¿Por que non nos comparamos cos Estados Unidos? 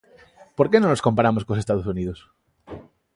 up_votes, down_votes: 2, 0